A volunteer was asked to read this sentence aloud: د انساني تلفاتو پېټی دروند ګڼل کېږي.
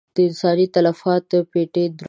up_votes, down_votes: 0, 2